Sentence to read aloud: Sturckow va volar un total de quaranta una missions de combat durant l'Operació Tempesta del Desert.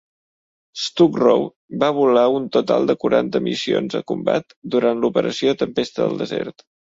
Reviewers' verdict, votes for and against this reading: rejected, 0, 2